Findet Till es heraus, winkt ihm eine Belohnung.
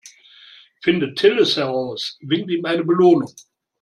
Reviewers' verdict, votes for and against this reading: accepted, 2, 1